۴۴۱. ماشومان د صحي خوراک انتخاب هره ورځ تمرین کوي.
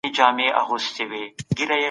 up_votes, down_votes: 0, 2